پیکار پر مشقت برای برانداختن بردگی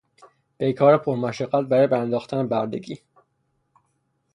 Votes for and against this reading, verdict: 3, 0, accepted